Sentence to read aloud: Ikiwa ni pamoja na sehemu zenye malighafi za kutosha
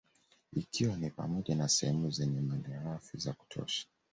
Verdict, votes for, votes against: accepted, 2, 0